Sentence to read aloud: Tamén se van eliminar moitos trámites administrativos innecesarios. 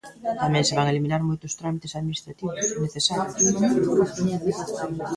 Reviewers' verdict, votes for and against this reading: rejected, 0, 2